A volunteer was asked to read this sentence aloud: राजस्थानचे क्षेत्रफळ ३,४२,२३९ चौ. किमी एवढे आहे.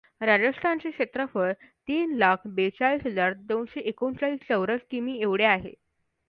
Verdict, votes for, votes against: rejected, 0, 2